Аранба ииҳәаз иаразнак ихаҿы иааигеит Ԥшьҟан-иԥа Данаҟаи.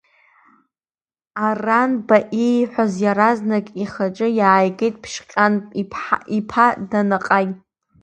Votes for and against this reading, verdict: 1, 2, rejected